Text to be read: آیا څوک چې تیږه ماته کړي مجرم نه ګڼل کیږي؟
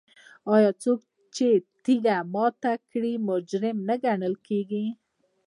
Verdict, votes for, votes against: accepted, 2, 1